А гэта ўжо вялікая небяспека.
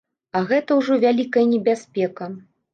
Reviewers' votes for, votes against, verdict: 2, 0, accepted